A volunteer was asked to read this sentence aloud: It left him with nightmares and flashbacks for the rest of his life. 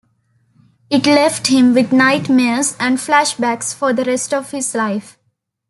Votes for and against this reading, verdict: 2, 0, accepted